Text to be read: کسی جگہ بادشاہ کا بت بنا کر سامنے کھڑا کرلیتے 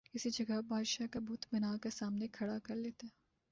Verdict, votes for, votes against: accepted, 2, 0